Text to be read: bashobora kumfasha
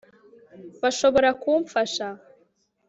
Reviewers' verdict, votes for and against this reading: rejected, 1, 2